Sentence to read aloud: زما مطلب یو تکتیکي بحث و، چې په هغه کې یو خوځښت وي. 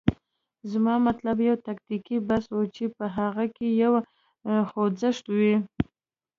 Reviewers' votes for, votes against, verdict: 2, 0, accepted